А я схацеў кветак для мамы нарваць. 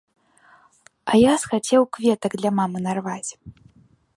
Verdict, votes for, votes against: accepted, 2, 0